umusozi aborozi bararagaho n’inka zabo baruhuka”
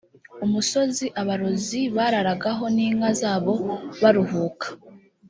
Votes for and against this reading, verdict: 1, 2, rejected